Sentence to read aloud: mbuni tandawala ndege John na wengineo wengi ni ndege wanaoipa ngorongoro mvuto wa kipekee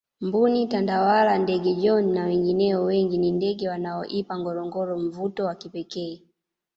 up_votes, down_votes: 2, 1